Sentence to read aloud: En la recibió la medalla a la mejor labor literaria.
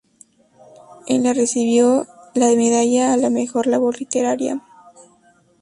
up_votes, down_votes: 0, 2